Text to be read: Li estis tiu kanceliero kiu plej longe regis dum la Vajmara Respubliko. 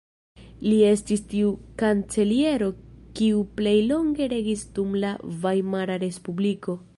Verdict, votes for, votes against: rejected, 1, 2